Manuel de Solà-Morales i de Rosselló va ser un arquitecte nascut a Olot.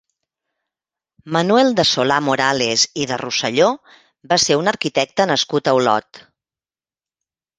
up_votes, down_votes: 2, 0